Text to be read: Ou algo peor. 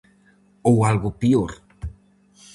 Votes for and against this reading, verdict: 4, 0, accepted